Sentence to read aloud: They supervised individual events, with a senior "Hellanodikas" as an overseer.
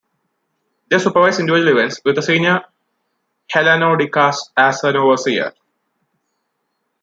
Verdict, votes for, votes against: rejected, 1, 2